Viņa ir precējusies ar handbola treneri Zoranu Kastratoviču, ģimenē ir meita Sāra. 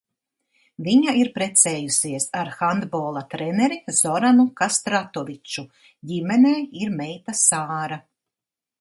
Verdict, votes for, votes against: accepted, 2, 0